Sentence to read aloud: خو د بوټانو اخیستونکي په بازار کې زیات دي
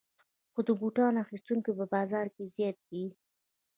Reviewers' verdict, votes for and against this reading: accepted, 2, 0